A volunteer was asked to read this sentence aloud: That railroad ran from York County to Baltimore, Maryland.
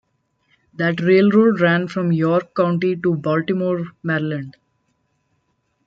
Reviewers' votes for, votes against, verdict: 0, 2, rejected